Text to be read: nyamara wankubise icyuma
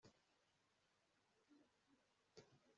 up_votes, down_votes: 0, 2